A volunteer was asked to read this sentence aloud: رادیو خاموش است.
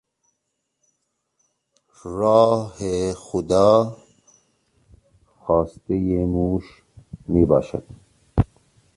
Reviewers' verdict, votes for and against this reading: rejected, 0, 3